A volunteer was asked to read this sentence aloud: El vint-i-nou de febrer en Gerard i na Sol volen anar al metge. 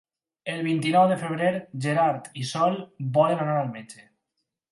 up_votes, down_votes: 2, 4